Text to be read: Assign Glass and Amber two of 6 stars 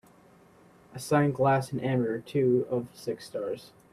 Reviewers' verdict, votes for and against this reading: rejected, 0, 2